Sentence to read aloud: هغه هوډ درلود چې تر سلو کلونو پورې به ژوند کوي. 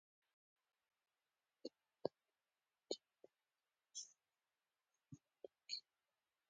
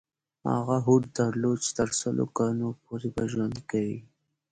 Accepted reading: second